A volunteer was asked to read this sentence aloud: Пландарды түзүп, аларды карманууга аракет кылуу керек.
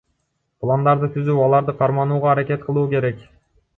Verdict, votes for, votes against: rejected, 1, 2